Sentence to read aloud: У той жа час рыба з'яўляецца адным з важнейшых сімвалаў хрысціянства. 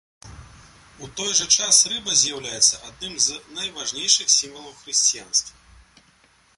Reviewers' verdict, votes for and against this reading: rejected, 1, 2